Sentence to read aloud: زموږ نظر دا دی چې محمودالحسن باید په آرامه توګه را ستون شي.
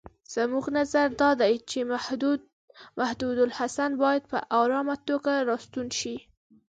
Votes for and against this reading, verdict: 1, 2, rejected